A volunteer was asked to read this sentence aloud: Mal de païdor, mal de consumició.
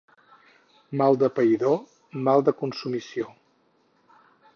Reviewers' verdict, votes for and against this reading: accepted, 4, 0